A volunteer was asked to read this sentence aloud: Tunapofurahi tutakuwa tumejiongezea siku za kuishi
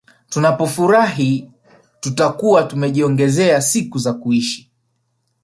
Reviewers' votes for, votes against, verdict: 2, 0, accepted